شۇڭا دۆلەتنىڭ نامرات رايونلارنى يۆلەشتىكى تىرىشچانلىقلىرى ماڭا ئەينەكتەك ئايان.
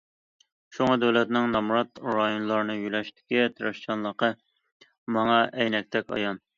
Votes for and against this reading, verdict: 1, 2, rejected